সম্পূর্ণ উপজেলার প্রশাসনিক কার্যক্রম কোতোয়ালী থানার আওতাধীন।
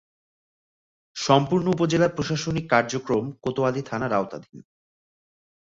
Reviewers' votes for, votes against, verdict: 3, 2, accepted